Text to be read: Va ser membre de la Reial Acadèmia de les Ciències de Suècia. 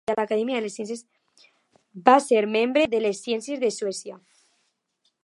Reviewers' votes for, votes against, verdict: 1, 3, rejected